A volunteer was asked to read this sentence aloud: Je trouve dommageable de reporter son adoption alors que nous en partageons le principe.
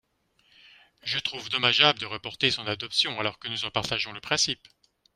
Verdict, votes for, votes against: accepted, 2, 0